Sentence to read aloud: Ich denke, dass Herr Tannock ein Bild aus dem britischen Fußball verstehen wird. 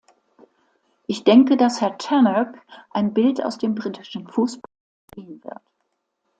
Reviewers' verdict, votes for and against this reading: rejected, 1, 2